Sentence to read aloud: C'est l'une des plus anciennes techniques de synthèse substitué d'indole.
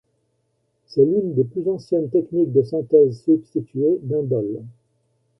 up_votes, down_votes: 2, 0